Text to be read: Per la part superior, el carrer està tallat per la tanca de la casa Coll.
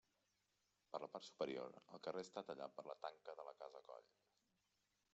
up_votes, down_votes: 0, 2